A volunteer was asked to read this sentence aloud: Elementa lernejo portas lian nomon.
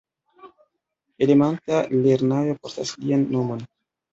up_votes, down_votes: 1, 2